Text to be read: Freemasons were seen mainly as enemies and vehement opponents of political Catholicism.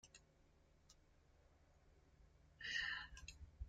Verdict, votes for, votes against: rejected, 0, 2